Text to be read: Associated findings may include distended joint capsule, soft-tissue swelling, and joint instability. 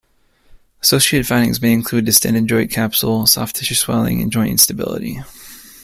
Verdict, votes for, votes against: accepted, 2, 0